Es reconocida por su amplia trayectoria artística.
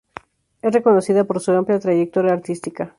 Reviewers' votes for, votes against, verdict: 2, 0, accepted